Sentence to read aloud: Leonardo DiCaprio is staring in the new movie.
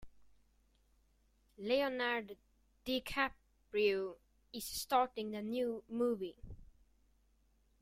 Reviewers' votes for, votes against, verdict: 0, 2, rejected